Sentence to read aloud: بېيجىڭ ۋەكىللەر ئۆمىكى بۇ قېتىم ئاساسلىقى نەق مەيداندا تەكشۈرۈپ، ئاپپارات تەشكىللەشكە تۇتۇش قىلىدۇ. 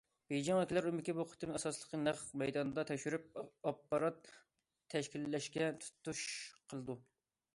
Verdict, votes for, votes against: rejected, 1, 2